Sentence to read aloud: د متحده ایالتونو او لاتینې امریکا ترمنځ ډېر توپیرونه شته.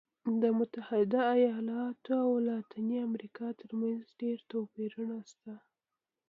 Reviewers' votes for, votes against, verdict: 2, 0, accepted